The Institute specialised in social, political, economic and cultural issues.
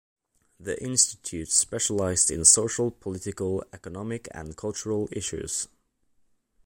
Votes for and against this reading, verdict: 2, 1, accepted